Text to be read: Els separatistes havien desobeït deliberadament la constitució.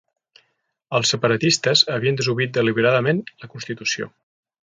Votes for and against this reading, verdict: 2, 0, accepted